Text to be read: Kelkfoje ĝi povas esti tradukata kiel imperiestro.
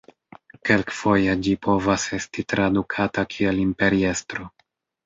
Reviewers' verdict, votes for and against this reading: accepted, 2, 0